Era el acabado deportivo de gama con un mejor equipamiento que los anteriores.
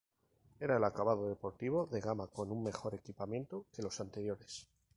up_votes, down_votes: 0, 2